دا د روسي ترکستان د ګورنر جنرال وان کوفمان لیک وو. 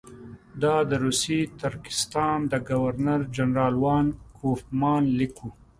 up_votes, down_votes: 2, 0